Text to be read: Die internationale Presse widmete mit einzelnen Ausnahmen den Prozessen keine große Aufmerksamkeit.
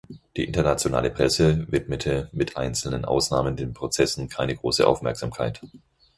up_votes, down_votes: 4, 0